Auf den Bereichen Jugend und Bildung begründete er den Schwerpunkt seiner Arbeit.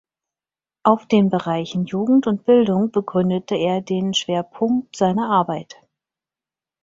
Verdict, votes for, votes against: accepted, 4, 0